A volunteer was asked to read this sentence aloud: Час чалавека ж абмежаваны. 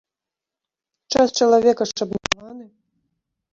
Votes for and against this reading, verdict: 0, 3, rejected